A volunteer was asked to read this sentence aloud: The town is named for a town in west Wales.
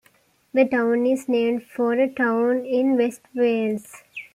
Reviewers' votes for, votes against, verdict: 2, 0, accepted